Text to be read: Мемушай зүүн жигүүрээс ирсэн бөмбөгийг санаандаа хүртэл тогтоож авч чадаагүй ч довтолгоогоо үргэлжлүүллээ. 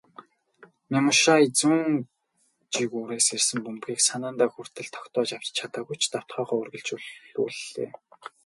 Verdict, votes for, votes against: rejected, 0, 2